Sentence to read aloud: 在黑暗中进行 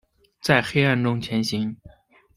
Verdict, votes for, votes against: rejected, 0, 2